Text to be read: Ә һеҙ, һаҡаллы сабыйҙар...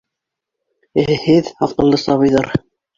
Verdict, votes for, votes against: accepted, 2, 0